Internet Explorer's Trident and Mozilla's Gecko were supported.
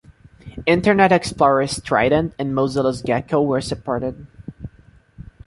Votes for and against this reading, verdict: 2, 0, accepted